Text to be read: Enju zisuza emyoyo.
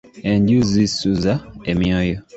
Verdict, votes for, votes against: accepted, 2, 0